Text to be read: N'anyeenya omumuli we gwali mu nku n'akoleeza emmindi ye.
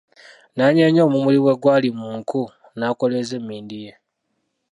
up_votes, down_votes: 0, 2